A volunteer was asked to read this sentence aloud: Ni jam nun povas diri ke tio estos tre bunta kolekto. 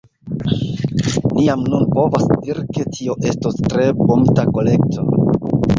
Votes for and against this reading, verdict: 2, 1, accepted